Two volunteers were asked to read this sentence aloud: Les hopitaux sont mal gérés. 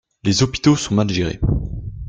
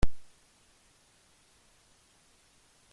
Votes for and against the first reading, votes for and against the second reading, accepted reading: 2, 1, 0, 2, first